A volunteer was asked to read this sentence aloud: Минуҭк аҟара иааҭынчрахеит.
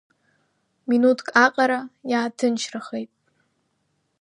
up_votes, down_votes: 2, 0